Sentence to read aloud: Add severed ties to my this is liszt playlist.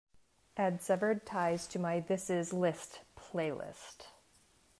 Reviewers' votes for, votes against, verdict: 2, 0, accepted